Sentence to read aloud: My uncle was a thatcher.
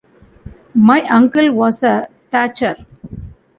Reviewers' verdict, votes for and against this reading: accepted, 2, 0